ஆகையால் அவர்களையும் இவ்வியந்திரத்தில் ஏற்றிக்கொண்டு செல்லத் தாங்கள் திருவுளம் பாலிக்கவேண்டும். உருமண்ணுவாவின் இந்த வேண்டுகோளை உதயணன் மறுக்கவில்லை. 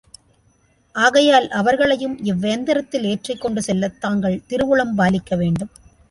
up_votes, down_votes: 0, 2